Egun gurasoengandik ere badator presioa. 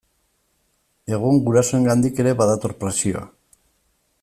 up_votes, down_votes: 2, 0